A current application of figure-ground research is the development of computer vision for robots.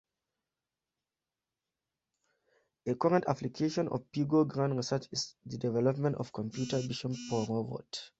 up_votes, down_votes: 2, 0